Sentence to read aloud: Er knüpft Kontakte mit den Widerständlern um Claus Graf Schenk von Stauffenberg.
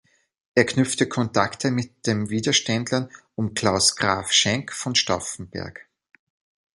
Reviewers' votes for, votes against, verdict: 0, 2, rejected